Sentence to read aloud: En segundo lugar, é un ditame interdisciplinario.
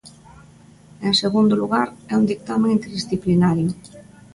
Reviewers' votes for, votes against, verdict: 2, 1, accepted